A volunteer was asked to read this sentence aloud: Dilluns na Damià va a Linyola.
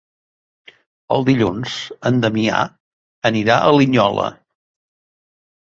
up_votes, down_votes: 1, 2